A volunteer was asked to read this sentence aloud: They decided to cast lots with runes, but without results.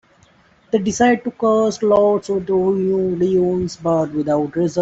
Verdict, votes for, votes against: rejected, 1, 2